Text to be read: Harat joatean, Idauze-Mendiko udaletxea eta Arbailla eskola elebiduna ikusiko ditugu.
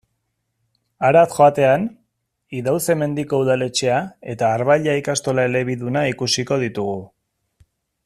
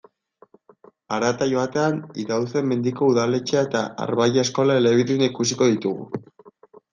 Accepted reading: second